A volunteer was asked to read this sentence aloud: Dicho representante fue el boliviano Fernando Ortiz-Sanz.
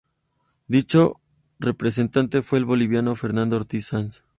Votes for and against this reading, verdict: 2, 0, accepted